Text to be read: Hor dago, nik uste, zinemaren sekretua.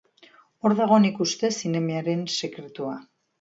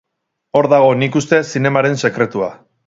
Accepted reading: second